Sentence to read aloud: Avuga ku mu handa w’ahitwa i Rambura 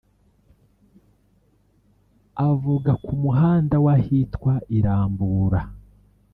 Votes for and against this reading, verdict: 1, 2, rejected